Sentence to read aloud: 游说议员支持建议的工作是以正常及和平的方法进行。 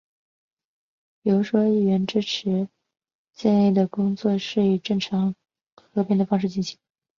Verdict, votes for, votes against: rejected, 0, 2